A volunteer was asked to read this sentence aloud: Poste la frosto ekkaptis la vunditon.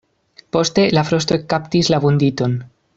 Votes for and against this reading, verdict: 2, 0, accepted